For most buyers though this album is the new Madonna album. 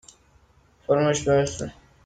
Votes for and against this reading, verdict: 0, 2, rejected